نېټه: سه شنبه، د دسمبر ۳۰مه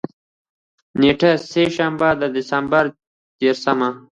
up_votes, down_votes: 0, 2